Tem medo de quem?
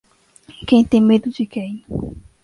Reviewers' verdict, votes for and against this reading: rejected, 0, 2